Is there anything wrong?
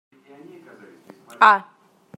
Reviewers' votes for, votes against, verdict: 0, 2, rejected